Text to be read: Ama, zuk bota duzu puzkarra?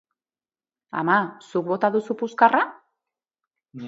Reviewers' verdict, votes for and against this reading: accepted, 2, 0